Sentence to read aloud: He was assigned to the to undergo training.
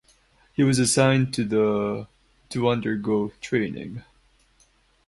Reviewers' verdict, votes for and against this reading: rejected, 2, 2